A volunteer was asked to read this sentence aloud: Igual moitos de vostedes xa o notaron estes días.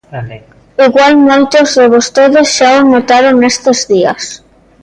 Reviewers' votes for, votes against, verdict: 0, 2, rejected